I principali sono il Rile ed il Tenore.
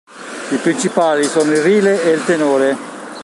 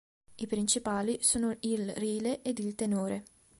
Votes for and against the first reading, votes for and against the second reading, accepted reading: 1, 2, 2, 0, second